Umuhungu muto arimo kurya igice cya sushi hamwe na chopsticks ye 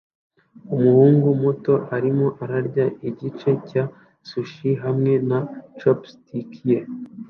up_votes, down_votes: 1, 2